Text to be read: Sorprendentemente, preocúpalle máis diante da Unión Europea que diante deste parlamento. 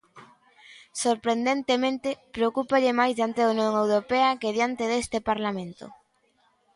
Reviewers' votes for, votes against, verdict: 2, 0, accepted